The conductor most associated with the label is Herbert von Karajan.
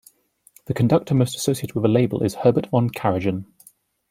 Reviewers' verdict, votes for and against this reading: accepted, 2, 0